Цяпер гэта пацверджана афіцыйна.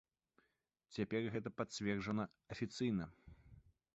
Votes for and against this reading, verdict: 3, 2, accepted